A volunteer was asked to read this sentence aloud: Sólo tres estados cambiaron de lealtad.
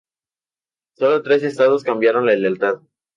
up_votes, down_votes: 0, 2